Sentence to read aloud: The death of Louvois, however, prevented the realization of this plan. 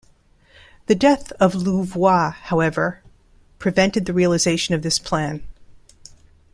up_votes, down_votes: 2, 0